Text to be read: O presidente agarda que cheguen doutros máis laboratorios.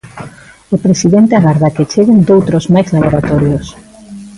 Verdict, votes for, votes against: accepted, 3, 0